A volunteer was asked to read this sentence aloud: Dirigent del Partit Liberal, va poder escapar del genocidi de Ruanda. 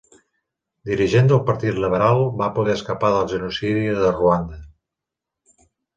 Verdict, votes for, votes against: accepted, 3, 0